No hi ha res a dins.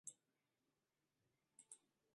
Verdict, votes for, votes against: rejected, 0, 2